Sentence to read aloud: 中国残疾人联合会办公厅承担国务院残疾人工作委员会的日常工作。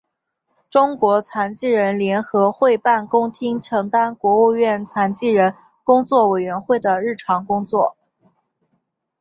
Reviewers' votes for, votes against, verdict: 5, 0, accepted